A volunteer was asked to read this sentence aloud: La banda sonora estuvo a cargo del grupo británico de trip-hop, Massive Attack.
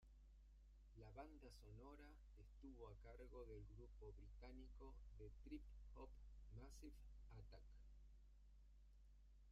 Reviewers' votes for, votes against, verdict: 0, 2, rejected